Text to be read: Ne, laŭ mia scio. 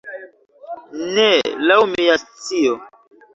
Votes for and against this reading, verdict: 0, 2, rejected